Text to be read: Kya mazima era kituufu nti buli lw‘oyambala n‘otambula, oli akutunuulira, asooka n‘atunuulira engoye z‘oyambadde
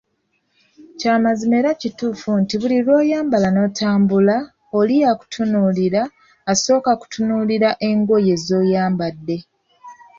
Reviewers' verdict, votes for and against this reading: rejected, 1, 2